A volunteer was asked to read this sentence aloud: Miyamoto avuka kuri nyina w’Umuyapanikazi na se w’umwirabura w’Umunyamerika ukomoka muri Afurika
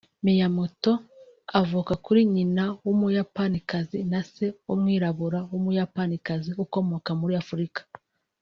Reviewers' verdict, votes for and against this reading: rejected, 1, 2